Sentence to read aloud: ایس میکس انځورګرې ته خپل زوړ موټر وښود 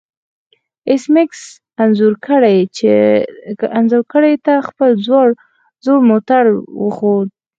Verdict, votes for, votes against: rejected, 2, 4